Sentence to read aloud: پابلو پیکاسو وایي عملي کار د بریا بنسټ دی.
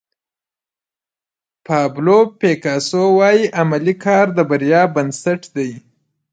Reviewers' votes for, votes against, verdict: 0, 2, rejected